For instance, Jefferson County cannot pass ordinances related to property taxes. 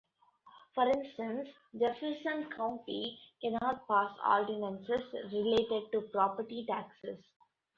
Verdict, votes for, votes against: rejected, 1, 2